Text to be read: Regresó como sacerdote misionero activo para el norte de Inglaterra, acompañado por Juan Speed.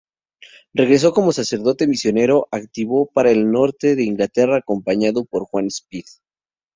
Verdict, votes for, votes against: accepted, 2, 0